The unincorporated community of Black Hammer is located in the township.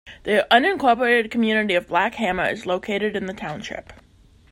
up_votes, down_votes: 2, 0